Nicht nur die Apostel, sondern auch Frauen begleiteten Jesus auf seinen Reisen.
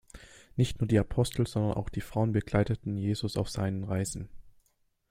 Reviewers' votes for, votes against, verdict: 0, 2, rejected